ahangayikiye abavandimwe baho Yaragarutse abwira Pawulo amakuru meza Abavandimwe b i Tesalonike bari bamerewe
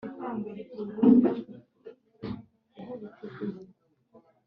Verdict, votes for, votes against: rejected, 0, 2